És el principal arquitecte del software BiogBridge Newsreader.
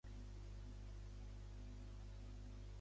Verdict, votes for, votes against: rejected, 0, 2